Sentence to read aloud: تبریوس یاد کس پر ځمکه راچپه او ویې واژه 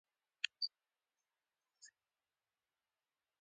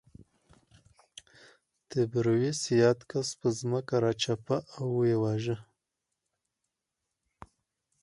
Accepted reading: second